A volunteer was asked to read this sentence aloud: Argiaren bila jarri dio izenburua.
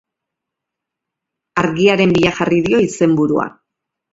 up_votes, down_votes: 2, 0